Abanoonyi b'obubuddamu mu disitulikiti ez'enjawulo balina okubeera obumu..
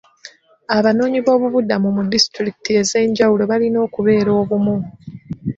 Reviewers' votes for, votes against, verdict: 2, 1, accepted